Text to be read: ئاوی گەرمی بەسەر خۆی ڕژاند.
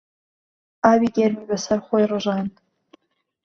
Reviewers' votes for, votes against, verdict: 2, 0, accepted